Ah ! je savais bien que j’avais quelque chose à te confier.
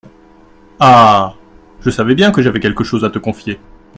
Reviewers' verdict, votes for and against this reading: accepted, 2, 0